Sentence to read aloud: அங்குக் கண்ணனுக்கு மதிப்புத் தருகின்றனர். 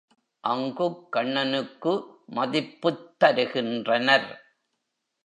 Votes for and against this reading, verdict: 2, 0, accepted